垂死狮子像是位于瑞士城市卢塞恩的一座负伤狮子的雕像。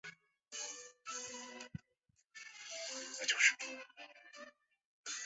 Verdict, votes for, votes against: rejected, 0, 2